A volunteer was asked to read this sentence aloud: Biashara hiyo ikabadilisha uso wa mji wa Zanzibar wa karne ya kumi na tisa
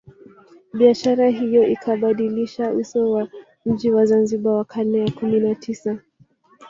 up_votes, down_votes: 0, 2